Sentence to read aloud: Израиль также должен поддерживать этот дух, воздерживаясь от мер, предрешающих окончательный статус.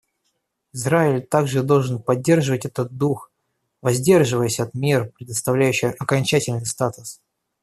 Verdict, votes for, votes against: rejected, 0, 2